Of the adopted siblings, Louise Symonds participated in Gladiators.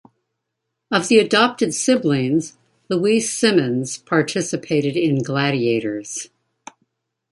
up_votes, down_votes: 2, 0